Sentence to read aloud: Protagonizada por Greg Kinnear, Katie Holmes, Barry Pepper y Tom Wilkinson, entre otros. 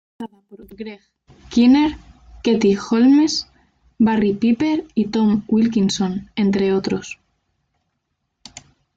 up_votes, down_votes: 0, 2